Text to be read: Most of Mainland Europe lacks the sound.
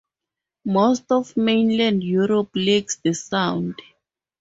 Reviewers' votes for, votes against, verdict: 4, 0, accepted